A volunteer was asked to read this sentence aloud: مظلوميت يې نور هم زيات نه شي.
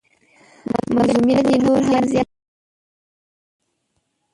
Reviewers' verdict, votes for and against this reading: rejected, 0, 2